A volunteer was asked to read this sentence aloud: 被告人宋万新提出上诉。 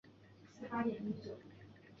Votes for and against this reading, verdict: 0, 2, rejected